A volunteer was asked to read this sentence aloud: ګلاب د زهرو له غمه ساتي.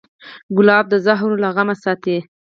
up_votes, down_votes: 0, 4